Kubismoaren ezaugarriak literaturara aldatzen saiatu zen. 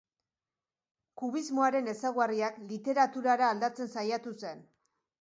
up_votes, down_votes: 2, 0